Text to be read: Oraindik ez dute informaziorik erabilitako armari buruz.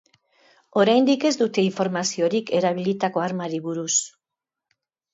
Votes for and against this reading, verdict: 4, 1, accepted